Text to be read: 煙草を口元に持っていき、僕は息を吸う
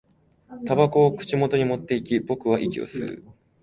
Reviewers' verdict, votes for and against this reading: accepted, 2, 0